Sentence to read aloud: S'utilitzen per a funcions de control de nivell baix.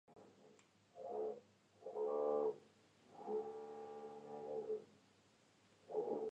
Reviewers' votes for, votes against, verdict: 0, 2, rejected